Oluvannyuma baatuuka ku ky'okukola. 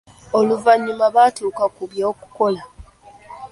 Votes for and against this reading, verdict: 0, 2, rejected